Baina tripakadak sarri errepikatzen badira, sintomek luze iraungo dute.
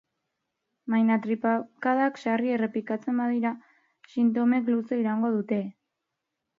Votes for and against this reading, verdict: 2, 0, accepted